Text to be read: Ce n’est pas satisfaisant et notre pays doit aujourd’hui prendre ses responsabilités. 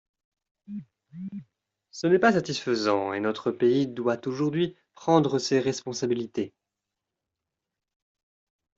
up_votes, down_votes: 2, 0